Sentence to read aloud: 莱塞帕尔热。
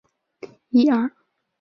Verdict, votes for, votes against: rejected, 0, 2